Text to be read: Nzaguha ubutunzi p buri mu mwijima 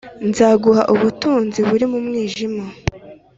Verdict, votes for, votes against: accepted, 2, 0